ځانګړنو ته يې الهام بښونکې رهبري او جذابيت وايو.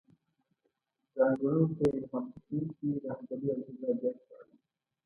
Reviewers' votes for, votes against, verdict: 0, 2, rejected